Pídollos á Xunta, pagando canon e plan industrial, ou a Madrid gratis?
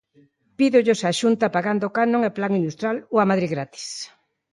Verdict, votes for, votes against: accepted, 2, 0